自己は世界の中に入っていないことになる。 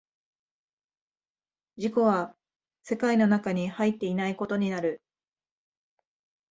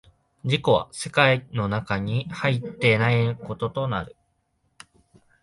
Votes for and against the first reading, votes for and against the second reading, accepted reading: 2, 0, 0, 2, first